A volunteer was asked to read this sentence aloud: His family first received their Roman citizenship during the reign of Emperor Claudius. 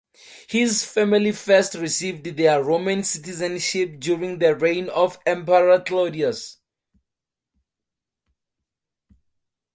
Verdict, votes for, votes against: accepted, 4, 0